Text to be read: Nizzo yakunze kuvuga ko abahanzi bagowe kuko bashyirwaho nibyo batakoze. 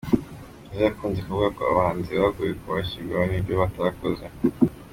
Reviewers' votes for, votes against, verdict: 2, 0, accepted